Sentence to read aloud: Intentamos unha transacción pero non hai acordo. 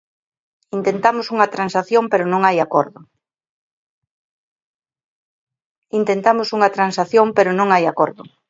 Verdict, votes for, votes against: rejected, 1, 2